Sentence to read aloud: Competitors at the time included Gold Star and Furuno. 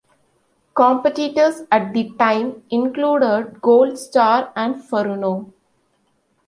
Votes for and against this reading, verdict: 1, 2, rejected